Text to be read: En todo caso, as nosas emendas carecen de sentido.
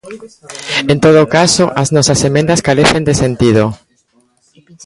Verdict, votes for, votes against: rejected, 1, 2